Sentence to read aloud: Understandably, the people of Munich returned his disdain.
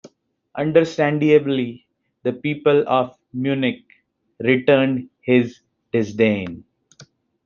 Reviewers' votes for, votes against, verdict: 0, 2, rejected